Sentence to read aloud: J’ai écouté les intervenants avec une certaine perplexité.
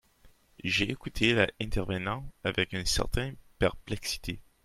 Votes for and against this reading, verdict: 1, 2, rejected